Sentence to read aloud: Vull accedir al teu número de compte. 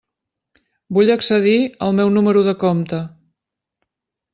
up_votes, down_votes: 0, 2